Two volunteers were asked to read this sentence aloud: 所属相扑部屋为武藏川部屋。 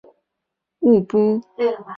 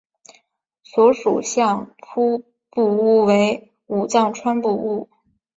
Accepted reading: second